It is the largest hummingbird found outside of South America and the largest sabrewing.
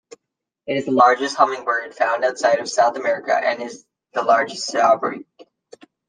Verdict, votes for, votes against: rejected, 0, 2